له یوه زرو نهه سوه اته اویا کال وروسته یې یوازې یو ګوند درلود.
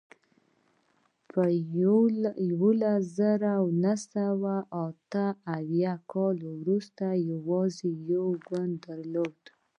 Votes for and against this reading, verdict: 2, 1, accepted